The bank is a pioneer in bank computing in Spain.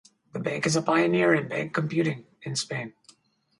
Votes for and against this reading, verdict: 2, 0, accepted